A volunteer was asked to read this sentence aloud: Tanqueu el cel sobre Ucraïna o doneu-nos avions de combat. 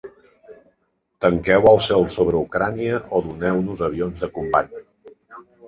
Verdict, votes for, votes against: rejected, 0, 3